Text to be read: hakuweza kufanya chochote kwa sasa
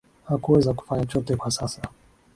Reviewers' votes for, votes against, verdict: 2, 0, accepted